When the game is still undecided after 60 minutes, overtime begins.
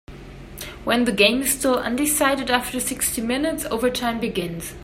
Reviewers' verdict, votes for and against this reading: rejected, 0, 2